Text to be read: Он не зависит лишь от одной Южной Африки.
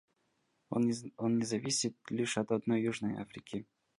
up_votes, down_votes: 0, 2